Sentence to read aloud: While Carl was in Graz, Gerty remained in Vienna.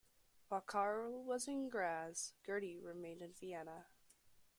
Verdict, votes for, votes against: rejected, 0, 2